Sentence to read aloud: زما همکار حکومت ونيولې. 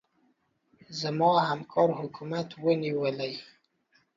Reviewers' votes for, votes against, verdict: 2, 0, accepted